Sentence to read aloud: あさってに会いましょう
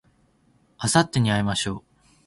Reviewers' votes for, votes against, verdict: 2, 0, accepted